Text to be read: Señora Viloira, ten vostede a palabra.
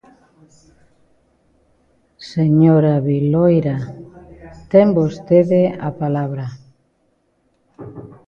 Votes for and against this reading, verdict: 2, 1, accepted